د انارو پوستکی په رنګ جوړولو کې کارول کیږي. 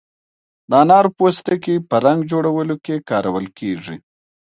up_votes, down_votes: 2, 0